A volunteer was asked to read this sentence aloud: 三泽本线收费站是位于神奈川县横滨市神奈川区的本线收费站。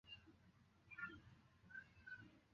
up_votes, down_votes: 0, 2